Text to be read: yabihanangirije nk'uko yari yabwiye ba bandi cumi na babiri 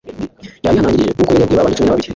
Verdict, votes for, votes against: rejected, 1, 2